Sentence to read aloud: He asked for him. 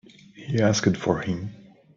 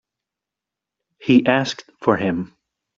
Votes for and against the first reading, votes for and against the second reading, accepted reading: 1, 2, 2, 0, second